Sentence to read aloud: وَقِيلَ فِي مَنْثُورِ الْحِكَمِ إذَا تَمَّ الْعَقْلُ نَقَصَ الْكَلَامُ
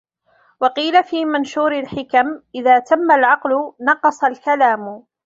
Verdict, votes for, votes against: rejected, 0, 2